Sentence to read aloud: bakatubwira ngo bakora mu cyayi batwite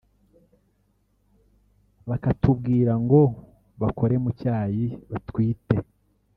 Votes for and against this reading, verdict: 1, 3, rejected